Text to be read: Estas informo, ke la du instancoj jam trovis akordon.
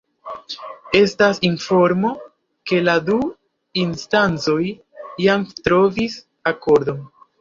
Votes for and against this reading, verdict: 2, 1, accepted